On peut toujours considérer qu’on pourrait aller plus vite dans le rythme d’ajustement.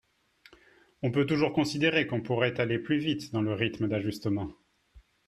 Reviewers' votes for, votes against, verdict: 3, 0, accepted